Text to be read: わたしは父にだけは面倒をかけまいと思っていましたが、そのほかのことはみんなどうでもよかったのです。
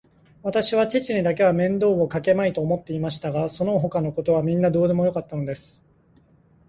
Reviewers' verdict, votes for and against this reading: accepted, 2, 0